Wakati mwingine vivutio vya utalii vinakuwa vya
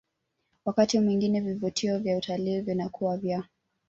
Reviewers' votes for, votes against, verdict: 2, 0, accepted